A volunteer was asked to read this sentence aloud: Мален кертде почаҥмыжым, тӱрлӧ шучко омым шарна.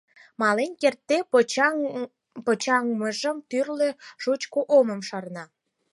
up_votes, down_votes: 2, 4